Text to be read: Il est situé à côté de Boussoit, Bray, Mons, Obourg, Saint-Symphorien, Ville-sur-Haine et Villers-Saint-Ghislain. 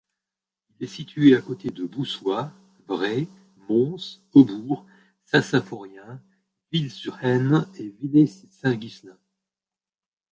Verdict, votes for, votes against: rejected, 0, 2